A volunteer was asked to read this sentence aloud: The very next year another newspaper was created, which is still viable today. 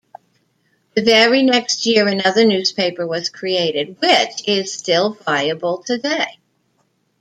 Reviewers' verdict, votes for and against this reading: accepted, 2, 1